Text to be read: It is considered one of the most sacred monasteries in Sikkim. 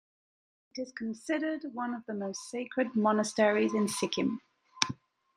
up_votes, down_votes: 2, 0